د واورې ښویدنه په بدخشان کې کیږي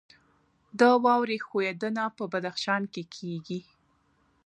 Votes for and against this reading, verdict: 1, 2, rejected